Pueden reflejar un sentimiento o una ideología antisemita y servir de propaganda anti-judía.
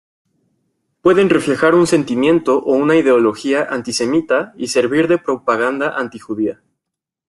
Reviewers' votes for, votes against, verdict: 2, 0, accepted